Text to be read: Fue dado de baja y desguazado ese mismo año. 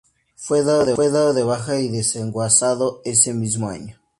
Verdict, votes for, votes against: rejected, 0, 2